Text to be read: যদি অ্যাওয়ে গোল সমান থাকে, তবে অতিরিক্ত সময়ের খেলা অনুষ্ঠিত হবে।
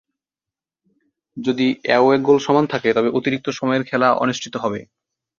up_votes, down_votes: 2, 0